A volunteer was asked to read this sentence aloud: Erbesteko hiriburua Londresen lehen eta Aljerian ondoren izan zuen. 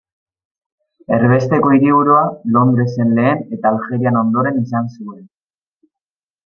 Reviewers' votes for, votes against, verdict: 1, 2, rejected